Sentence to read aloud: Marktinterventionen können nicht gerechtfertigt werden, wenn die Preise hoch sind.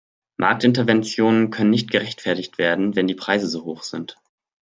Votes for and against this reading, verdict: 1, 2, rejected